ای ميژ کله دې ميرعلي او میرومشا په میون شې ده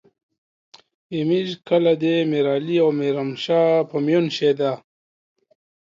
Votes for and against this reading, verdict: 2, 0, accepted